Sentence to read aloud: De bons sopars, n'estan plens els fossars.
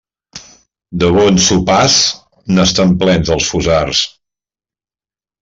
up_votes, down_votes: 2, 0